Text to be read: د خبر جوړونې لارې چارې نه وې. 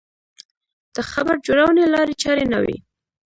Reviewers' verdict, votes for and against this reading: rejected, 0, 2